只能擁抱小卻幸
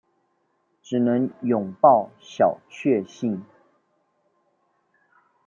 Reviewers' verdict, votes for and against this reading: accepted, 2, 0